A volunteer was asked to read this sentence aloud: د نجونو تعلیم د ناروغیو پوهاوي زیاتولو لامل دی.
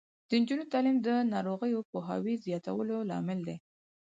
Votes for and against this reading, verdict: 4, 2, accepted